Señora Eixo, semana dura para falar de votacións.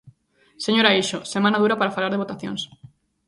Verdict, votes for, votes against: accepted, 2, 0